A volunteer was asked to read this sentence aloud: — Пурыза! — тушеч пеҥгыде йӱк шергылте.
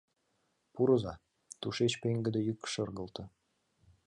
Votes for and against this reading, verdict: 2, 0, accepted